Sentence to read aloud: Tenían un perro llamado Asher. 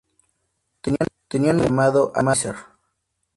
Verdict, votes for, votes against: rejected, 0, 2